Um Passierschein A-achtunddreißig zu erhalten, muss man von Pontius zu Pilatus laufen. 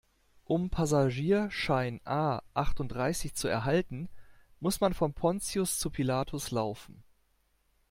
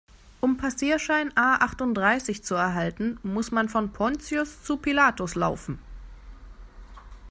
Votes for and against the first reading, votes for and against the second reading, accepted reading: 0, 2, 2, 0, second